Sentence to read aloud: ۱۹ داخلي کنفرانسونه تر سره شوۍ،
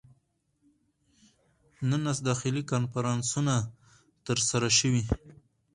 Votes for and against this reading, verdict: 0, 2, rejected